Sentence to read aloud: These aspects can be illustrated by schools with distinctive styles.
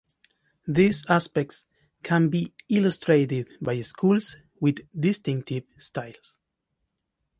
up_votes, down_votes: 2, 0